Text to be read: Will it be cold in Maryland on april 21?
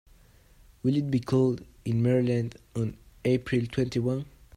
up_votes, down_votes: 0, 2